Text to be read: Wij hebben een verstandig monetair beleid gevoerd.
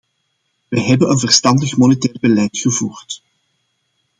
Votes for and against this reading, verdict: 2, 0, accepted